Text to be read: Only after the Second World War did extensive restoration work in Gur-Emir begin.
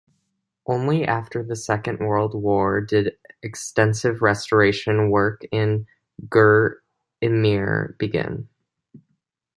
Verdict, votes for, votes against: accepted, 2, 0